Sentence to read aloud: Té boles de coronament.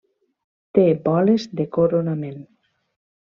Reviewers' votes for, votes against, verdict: 2, 1, accepted